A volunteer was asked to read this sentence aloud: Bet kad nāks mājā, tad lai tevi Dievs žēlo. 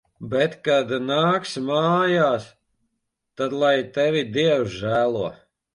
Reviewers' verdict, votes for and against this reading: rejected, 1, 2